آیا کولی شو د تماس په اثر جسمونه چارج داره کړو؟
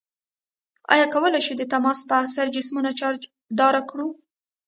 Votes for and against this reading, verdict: 0, 2, rejected